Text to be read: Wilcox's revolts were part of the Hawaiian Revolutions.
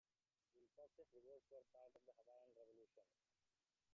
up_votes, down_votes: 0, 2